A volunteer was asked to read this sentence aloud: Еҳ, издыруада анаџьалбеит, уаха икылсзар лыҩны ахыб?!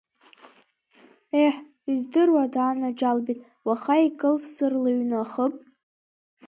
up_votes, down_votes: 2, 1